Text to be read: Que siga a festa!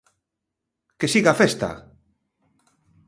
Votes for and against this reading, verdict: 2, 0, accepted